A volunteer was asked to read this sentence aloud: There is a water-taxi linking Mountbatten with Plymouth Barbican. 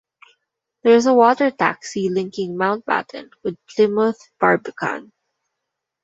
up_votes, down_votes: 2, 0